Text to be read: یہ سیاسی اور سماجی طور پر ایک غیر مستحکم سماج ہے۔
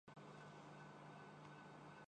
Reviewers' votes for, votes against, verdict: 0, 2, rejected